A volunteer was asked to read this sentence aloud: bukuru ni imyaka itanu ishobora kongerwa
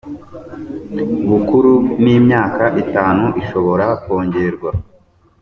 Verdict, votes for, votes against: accepted, 2, 0